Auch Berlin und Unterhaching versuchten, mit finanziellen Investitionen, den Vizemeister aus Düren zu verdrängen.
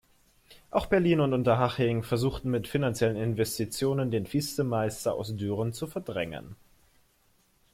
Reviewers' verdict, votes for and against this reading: rejected, 1, 2